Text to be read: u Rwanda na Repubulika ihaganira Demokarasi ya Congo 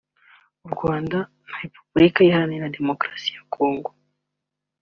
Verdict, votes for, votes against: accepted, 3, 0